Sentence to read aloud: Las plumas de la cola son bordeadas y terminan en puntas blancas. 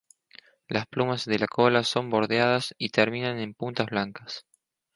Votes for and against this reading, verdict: 2, 0, accepted